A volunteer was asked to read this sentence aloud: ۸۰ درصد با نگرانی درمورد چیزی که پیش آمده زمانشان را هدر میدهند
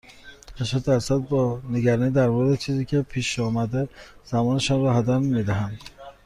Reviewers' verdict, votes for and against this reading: rejected, 0, 2